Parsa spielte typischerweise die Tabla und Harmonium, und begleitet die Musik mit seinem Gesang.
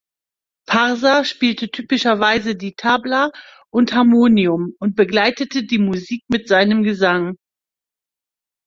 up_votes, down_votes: 1, 2